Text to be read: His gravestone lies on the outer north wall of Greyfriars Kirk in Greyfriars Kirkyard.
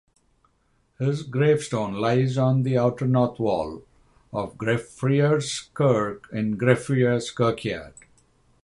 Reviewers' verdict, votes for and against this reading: rejected, 3, 3